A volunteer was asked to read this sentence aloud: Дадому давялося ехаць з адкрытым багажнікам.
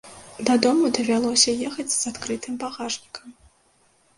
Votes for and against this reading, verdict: 2, 0, accepted